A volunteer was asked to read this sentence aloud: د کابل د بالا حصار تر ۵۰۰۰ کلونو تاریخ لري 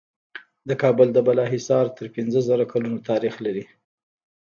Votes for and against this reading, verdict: 0, 2, rejected